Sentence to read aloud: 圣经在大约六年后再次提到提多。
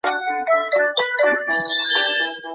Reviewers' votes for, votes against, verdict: 1, 4, rejected